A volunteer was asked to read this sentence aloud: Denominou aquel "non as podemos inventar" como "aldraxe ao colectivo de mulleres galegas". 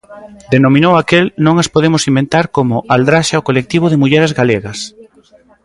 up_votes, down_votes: 2, 0